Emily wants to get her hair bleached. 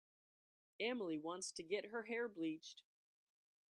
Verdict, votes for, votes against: accepted, 2, 0